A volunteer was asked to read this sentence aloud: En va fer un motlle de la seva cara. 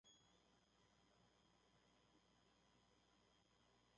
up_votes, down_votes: 1, 2